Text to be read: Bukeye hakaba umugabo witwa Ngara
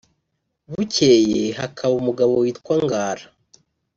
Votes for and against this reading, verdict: 2, 0, accepted